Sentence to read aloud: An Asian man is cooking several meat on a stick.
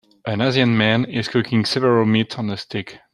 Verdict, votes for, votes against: rejected, 1, 2